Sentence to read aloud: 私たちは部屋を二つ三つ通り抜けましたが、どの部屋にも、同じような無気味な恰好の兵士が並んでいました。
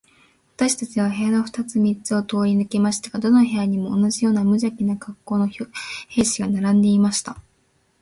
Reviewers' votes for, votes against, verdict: 1, 2, rejected